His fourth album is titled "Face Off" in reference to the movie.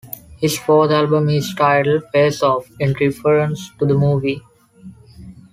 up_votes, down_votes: 2, 0